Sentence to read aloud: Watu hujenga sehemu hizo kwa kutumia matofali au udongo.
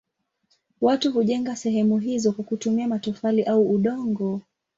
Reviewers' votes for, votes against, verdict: 2, 2, rejected